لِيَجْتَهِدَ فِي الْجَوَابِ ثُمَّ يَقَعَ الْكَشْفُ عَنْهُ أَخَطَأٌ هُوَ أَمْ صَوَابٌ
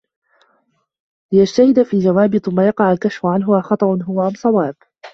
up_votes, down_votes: 2, 0